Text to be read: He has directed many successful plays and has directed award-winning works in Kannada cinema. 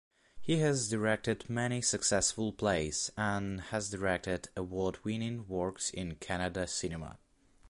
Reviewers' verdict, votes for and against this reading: accepted, 2, 0